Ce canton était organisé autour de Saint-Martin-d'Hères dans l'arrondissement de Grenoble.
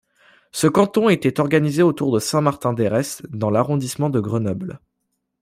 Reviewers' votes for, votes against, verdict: 1, 2, rejected